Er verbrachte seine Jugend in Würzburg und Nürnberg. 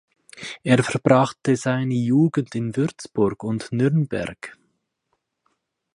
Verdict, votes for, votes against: accepted, 4, 0